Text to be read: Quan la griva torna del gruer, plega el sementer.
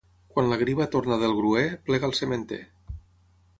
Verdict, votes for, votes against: accepted, 6, 0